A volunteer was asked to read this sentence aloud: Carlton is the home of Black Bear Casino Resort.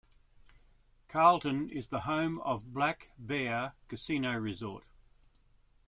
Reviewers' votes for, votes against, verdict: 2, 0, accepted